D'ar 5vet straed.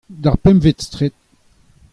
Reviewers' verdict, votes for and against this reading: rejected, 0, 2